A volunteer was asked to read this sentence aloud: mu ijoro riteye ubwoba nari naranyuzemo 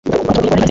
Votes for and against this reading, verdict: 0, 2, rejected